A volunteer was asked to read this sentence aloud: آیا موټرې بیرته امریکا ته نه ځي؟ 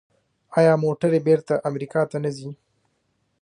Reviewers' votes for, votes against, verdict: 2, 0, accepted